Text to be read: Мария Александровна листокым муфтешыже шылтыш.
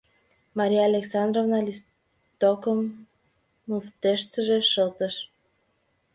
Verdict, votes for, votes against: rejected, 1, 2